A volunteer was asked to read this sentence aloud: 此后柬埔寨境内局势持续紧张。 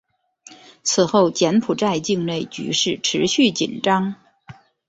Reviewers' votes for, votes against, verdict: 4, 0, accepted